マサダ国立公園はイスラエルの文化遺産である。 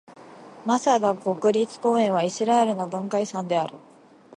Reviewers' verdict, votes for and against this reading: accepted, 2, 0